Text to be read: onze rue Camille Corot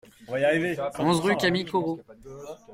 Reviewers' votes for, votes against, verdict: 1, 2, rejected